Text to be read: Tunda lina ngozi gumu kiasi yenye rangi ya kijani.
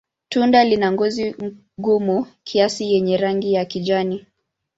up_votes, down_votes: 2, 1